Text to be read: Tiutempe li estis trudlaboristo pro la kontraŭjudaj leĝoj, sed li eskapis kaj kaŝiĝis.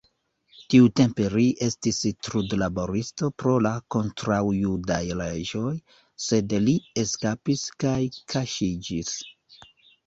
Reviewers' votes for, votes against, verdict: 1, 2, rejected